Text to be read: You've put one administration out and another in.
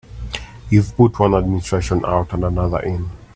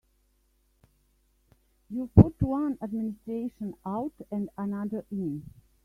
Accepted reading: first